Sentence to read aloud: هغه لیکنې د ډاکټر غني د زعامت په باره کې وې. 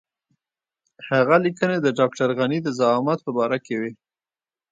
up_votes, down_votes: 1, 2